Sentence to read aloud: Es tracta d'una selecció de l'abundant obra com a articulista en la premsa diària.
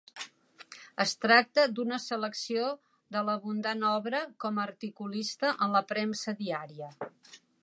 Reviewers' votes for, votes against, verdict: 2, 0, accepted